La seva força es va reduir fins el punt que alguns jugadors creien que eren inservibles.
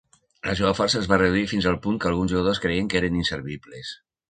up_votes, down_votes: 0, 2